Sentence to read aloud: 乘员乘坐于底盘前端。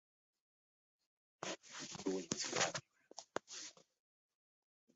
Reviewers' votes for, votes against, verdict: 0, 5, rejected